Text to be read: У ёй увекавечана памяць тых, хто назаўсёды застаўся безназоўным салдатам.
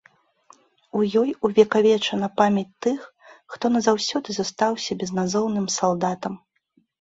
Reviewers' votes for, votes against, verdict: 2, 0, accepted